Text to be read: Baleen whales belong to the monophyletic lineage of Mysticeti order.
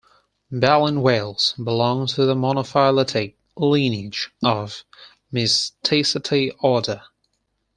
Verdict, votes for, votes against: accepted, 4, 0